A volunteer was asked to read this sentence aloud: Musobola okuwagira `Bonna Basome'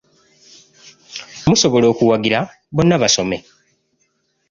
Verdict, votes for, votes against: accepted, 2, 0